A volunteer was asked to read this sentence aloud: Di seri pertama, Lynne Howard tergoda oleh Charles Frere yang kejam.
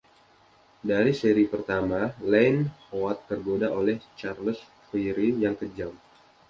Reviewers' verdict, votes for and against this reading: accepted, 2, 1